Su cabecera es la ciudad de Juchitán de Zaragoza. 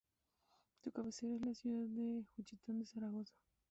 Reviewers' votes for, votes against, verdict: 0, 2, rejected